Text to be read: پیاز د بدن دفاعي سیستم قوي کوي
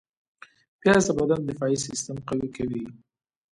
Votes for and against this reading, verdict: 2, 0, accepted